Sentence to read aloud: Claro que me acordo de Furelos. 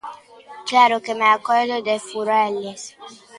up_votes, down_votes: 0, 2